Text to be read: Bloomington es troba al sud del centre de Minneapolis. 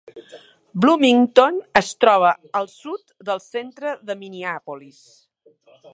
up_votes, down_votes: 3, 0